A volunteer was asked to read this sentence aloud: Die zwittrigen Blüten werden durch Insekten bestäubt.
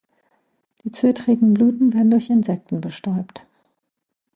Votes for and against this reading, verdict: 1, 2, rejected